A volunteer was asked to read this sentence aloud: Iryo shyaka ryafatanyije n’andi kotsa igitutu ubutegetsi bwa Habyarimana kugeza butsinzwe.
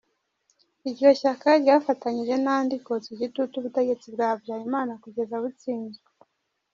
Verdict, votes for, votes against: accepted, 2, 0